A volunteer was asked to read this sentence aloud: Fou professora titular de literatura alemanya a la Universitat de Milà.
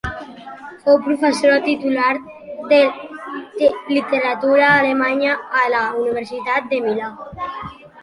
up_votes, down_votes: 2, 0